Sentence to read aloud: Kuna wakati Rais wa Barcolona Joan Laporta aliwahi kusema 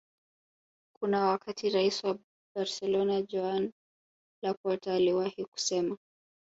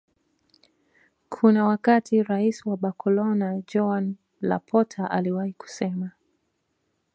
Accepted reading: first